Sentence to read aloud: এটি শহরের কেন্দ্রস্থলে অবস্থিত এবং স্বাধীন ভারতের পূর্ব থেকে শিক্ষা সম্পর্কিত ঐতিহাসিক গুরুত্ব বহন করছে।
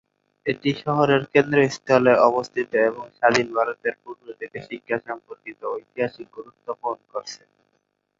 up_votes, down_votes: 2, 0